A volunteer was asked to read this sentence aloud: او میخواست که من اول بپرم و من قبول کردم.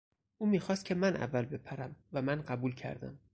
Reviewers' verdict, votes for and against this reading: accepted, 4, 0